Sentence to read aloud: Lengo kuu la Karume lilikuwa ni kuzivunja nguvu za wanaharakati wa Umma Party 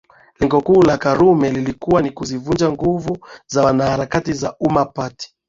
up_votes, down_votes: 2, 1